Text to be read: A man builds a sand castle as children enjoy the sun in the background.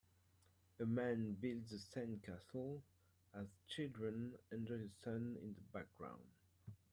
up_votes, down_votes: 1, 2